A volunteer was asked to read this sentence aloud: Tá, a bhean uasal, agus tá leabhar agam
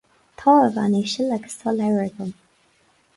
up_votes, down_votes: 2, 4